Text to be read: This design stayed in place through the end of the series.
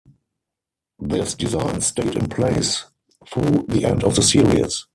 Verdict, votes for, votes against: rejected, 0, 4